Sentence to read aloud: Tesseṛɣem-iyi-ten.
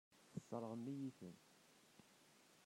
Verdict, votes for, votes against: rejected, 1, 2